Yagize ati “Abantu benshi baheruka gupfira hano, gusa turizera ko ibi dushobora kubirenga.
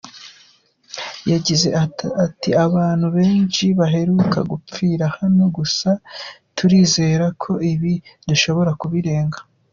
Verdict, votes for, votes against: rejected, 1, 2